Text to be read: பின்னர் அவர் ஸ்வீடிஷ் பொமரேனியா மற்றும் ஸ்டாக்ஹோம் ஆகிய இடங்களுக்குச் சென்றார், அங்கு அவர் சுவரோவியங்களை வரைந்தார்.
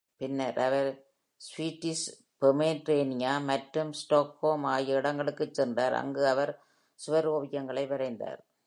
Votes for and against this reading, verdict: 2, 0, accepted